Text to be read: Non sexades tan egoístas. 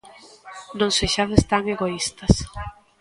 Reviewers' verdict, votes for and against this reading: rejected, 1, 2